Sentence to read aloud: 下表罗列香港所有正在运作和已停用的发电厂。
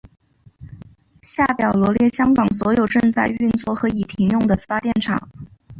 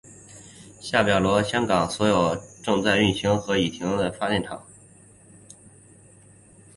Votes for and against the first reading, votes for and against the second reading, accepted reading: 2, 0, 1, 2, first